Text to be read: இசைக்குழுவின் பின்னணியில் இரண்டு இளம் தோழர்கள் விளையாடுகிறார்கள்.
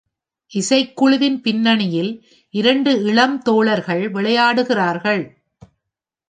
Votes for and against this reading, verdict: 2, 0, accepted